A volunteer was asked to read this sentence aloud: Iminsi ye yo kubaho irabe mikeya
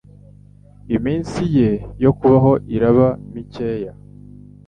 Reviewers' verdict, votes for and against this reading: rejected, 1, 2